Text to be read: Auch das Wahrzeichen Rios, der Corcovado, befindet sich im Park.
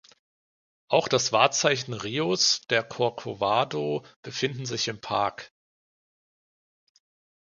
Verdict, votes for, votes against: rejected, 0, 2